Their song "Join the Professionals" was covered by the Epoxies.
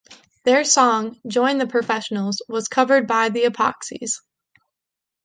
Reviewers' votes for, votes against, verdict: 2, 0, accepted